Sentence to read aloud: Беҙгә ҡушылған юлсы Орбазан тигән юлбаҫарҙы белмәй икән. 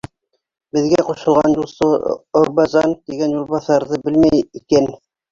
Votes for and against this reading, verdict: 3, 1, accepted